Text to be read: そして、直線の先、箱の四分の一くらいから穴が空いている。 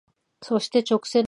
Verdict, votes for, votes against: rejected, 0, 5